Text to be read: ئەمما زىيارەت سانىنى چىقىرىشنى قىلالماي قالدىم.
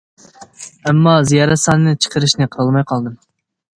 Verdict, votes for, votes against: accepted, 2, 0